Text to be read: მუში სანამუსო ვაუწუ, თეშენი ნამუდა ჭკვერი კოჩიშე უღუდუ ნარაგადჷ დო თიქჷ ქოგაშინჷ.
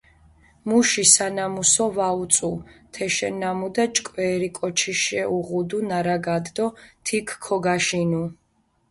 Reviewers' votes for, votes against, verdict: 0, 2, rejected